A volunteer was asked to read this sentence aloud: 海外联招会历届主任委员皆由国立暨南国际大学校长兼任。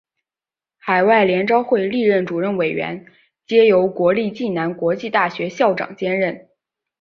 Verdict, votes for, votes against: accepted, 2, 0